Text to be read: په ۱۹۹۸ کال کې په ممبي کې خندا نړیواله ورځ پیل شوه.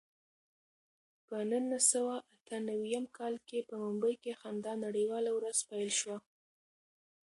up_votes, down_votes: 0, 2